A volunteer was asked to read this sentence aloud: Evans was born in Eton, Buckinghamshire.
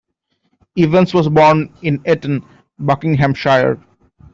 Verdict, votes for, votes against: rejected, 0, 2